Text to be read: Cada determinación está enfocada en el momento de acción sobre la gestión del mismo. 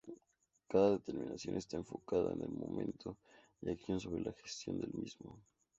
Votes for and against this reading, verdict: 2, 0, accepted